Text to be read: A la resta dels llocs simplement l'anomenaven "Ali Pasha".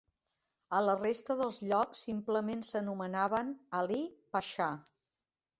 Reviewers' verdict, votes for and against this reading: rejected, 0, 2